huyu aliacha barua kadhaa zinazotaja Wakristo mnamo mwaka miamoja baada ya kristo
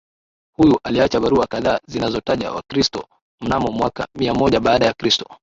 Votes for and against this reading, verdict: 2, 0, accepted